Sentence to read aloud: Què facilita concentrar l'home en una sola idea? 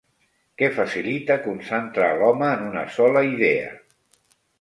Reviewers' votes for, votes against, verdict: 1, 2, rejected